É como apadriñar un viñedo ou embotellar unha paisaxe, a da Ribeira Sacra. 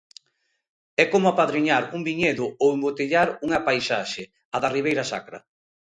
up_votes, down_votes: 2, 0